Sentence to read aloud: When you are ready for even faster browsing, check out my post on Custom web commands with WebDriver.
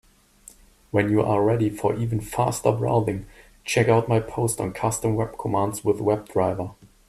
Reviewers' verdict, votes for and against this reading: accepted, 2, 0